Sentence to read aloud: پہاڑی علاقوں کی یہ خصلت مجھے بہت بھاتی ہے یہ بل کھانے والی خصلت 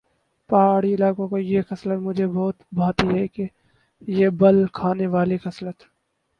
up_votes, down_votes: 2, 4